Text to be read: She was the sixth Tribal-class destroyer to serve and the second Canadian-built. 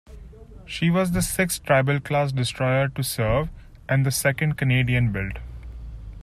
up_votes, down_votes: 4, 0